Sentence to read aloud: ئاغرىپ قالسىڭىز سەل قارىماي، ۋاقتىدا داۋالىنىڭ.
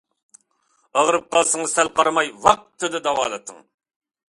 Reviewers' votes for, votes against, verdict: 2, 1, accepted